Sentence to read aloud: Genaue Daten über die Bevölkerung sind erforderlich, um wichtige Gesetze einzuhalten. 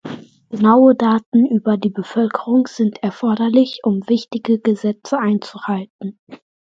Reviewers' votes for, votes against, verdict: 2, 0, accepted